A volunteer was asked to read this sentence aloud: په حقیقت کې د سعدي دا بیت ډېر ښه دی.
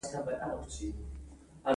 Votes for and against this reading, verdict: 1, 2, rejected